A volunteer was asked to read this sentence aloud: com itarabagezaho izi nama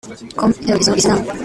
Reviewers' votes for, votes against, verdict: 0, 2, rejected